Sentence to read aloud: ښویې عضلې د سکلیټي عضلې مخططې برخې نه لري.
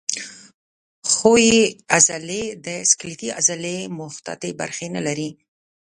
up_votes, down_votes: 0, 2